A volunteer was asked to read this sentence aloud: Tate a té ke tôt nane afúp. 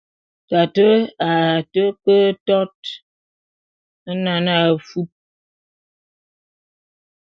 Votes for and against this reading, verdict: 0, 2, rejected